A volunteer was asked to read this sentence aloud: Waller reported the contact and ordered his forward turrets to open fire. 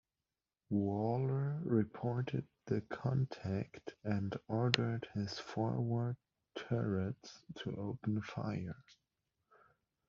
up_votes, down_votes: 1, 2